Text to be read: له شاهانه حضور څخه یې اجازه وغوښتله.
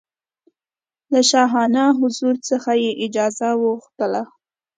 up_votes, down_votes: 2, 0